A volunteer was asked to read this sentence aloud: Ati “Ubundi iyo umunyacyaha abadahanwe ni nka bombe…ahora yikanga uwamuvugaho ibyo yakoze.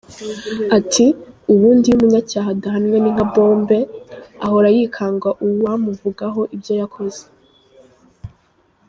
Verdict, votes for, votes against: rejected, 1, 2